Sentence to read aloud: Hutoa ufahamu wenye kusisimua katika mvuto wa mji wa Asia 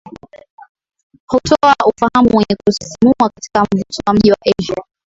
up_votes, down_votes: 3, 2